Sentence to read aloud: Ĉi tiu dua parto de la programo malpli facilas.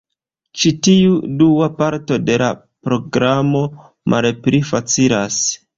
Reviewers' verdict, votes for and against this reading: accepted, 2, 0